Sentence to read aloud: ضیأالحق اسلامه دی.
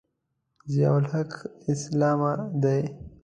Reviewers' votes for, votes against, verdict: 1, 2, rejected